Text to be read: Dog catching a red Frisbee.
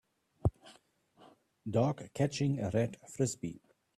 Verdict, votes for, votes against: accepted, 2, 0